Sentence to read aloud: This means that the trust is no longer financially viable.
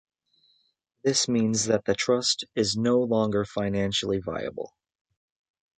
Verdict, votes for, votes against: accepted, 2, 0